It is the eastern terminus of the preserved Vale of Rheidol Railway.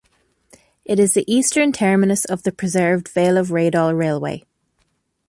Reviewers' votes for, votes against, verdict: 2, 0, accepted